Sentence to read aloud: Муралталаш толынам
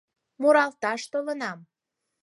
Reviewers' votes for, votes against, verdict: 4, 0, accepted